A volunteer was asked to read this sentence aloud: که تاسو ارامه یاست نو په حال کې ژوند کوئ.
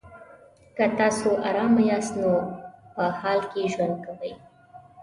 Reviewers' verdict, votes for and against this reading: accepted, 2, 0